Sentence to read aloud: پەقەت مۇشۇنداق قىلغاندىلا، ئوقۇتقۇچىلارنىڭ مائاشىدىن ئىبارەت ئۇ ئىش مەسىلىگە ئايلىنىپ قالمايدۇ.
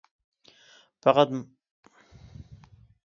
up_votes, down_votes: 0, 2